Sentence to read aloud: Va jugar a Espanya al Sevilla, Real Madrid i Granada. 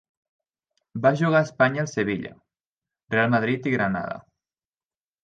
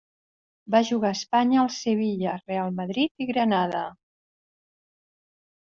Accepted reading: second